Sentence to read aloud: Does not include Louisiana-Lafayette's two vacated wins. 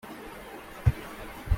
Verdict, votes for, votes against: rejected, 0, 2